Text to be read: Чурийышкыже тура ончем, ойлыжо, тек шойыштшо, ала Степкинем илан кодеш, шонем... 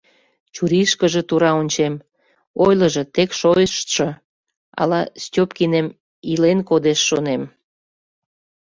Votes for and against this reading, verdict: 0, 2, rejected